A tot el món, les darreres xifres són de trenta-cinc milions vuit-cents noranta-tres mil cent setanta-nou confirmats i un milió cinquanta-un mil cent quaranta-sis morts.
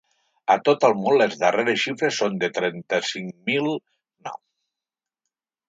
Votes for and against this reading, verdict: 1, 2, rejected